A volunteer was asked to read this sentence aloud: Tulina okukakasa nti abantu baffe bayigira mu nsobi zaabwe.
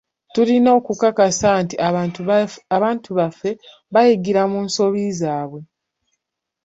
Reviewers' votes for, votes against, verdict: 2, 0, accepted